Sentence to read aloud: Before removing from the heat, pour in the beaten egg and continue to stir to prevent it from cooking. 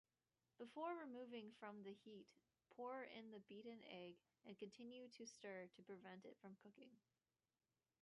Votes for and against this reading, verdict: 2, 0, accepted